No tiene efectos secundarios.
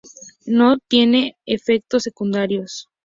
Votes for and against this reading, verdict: 2, 0, accepted